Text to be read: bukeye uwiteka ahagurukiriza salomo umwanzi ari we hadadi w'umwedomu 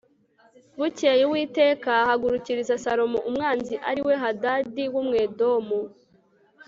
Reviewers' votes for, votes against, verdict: 3, 0, accepted